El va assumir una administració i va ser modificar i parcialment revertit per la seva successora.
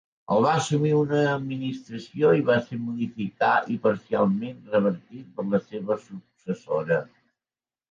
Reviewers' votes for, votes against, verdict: 2, 1, accepted